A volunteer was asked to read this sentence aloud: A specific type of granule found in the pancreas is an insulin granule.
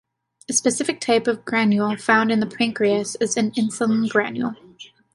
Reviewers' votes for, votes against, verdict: 2, 0, accepted